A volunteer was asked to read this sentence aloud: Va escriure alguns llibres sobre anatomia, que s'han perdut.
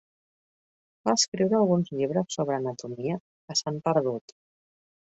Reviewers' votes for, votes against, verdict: 1, 2, rejected